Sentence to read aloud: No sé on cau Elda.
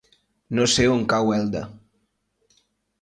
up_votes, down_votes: 3, 0